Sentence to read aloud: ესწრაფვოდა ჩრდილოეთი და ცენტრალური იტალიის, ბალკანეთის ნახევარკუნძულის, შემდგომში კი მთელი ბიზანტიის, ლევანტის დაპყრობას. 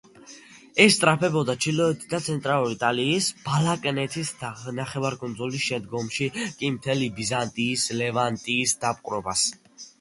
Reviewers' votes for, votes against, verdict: 0, 2, rejected